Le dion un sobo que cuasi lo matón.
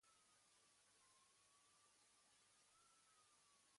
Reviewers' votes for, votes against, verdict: 1, 2, rejected